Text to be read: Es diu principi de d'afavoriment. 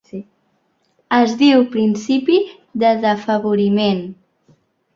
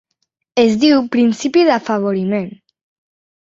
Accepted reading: first